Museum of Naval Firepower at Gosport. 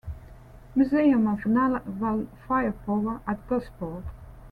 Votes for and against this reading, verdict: 1, 2, rejected